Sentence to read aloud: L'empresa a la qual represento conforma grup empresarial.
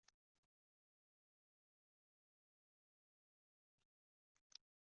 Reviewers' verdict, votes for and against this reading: rejected, 0, 2